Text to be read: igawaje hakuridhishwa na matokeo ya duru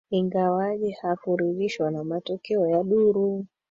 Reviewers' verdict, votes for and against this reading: rejected, 1, 2